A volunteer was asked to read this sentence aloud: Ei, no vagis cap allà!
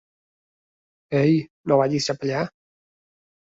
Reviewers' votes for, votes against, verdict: 2, 0, accepted